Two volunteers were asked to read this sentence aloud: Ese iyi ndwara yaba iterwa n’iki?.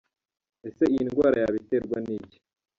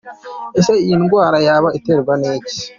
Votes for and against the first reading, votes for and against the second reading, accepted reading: 0, 2, 2, 0, second